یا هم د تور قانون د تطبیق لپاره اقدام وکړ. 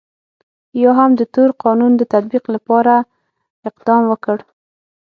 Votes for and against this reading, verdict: 6, 0, accepted